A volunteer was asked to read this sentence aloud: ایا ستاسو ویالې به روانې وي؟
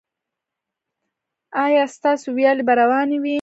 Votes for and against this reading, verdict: 0, 2, rejected